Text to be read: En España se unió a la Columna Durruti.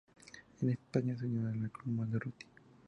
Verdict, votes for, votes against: accepted, 2, 0